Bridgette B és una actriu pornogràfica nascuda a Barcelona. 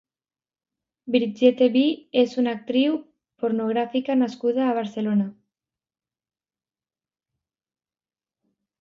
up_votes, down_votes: 2, 1